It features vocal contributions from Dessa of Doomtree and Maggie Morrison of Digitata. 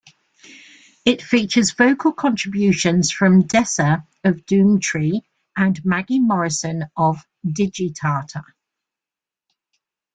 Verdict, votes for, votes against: accepted, 2, 0